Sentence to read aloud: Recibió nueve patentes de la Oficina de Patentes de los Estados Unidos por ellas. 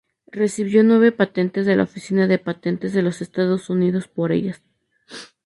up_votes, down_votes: 2, 0